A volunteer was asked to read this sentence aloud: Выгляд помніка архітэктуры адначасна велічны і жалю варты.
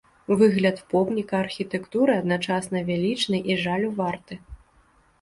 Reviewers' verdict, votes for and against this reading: accepted, 2, 1